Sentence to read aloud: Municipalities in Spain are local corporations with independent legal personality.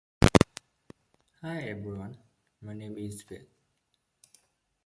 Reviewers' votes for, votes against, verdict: 0, 2, rejected